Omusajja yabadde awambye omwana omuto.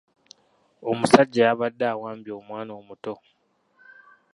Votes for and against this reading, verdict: 2, 1, accepted